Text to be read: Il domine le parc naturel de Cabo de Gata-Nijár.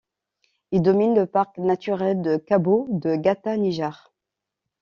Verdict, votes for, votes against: accepted, 2, 0